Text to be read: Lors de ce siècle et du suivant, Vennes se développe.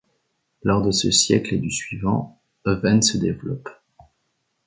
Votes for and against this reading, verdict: 1, 2, rejected